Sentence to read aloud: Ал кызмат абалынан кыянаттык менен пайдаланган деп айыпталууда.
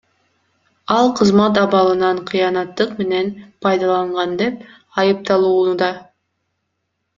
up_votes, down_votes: 2, 0